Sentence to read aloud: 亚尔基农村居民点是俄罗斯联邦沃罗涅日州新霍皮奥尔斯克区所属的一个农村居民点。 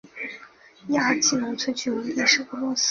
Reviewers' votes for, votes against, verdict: 0, 4, rejected